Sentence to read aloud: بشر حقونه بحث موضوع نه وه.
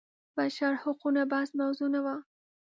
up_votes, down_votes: 2, 0